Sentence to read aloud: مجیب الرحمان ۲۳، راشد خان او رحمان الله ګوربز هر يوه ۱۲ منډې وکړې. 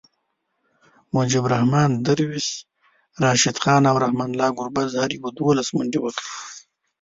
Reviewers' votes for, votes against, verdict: 0, 2, rejected